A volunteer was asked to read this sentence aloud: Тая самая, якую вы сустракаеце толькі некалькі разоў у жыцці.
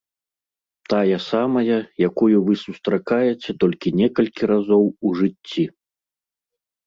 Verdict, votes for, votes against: accepted, 2, 0